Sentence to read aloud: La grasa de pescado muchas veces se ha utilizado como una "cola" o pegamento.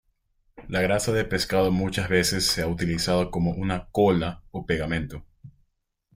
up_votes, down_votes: 2, 0